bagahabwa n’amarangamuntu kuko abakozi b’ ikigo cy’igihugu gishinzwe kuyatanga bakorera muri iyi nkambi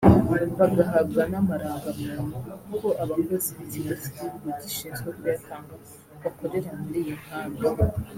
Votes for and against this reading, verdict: 2, 0, accepted